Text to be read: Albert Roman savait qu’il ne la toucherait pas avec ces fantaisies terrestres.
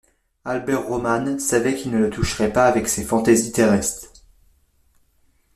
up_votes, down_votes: 2, 0